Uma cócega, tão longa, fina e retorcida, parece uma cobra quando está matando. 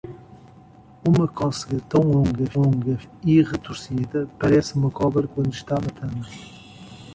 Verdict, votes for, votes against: rejected, 0, 2